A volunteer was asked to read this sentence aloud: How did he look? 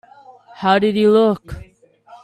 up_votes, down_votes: 2, 0